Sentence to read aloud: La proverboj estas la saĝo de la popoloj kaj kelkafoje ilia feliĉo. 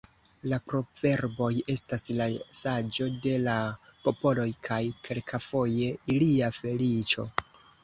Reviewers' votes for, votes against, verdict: 0, 2, rejected